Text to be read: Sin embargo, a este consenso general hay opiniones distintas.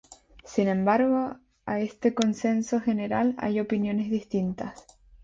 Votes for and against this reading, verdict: 2, 2, rejected